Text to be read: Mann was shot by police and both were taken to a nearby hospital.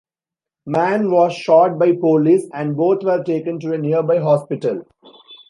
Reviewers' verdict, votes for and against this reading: accepted, 2, 0